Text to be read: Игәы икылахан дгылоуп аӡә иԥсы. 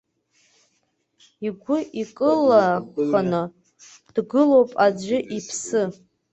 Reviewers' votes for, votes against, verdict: 1, 2, rejected